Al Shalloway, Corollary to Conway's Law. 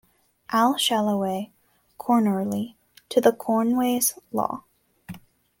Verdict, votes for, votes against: rejected, 1, 2